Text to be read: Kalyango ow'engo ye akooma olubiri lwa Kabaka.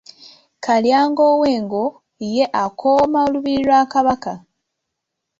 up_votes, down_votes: 2, 0